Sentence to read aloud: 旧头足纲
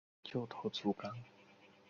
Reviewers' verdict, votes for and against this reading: rejected, 0, 2